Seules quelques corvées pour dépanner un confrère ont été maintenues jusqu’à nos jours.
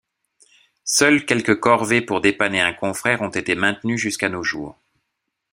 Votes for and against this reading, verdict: 2, 0, accepted